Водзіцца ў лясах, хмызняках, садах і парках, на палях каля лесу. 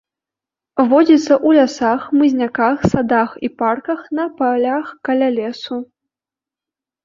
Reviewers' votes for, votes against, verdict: 0, 2, rejected